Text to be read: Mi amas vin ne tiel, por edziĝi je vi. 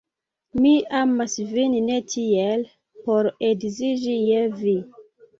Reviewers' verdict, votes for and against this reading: accepted, 2, 0